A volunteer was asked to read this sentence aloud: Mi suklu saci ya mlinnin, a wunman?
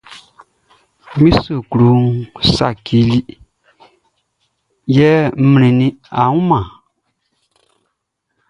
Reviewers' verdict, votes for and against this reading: accepted, 2, 0